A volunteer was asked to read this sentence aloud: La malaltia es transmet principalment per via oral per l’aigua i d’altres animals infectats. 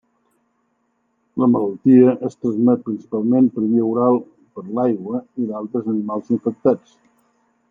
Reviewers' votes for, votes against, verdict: 2, 0, accepted